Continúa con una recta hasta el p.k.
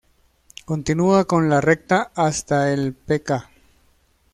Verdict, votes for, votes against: rejected, 1, 2